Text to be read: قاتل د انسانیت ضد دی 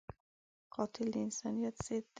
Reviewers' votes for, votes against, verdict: 1, 2, rejected